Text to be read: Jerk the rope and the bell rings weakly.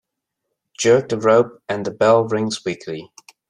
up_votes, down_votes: 2, 0